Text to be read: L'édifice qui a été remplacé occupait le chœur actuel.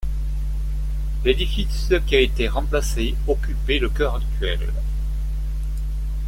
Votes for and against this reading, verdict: 2, 0, accepted